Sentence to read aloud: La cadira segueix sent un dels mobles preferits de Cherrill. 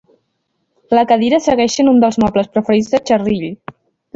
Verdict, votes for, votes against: accepted, 2, 1